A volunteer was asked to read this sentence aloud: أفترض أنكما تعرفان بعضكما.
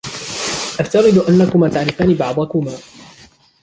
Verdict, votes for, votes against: rejected, 1, 2